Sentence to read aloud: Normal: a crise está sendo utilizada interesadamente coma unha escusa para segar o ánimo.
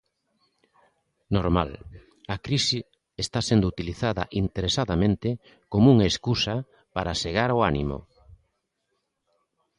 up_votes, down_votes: 2, 0